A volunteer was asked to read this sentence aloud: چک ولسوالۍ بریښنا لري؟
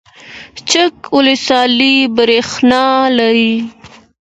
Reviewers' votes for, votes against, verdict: 2, 0, accepted